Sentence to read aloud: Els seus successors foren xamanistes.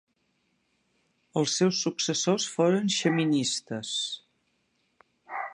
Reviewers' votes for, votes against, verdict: 0, 2, rejected